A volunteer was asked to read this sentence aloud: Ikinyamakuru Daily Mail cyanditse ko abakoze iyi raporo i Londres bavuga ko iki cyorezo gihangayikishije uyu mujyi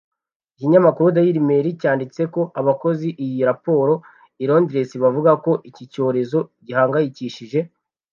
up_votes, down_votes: 0, 2